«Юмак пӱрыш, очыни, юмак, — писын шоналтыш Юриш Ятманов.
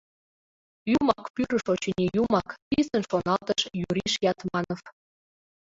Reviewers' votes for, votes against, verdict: 0, 2, rejected